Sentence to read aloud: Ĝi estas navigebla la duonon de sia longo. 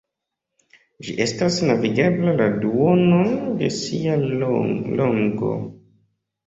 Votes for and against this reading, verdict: 2, 0, accepted